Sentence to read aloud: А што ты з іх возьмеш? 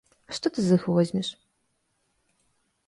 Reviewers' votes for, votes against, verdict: 2, 0, accepted